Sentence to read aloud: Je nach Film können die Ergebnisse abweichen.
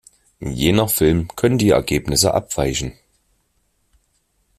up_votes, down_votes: 2, 1